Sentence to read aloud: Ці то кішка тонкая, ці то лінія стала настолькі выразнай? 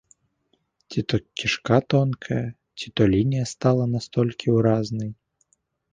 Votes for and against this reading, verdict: 1, 2, rejected